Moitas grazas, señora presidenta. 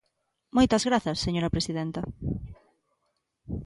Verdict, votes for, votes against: accepted, 2, 0